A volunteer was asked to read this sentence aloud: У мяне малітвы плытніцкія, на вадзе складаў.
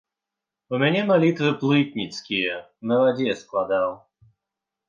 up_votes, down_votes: 2, 0